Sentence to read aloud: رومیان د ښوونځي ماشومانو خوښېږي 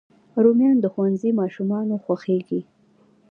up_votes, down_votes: 1, 2